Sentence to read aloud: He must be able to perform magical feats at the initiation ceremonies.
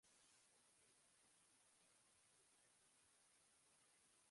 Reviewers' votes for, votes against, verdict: 0, 2, rejected